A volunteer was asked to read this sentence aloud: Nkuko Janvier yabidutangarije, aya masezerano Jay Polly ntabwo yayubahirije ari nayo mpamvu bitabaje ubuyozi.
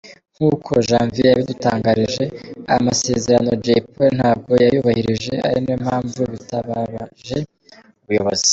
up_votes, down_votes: 2, 0